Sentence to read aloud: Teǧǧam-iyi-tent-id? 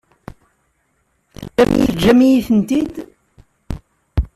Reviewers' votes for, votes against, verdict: 1, 2, rejected